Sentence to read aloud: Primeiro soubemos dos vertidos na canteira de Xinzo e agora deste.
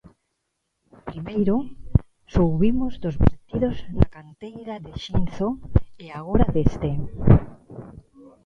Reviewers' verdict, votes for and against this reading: rejected, 0, 2